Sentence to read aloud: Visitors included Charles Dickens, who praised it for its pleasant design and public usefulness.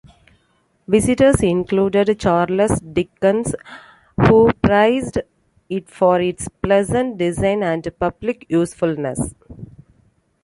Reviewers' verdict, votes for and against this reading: rejected, 1, 2